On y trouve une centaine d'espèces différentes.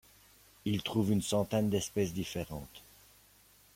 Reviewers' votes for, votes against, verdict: 1, 2, rejected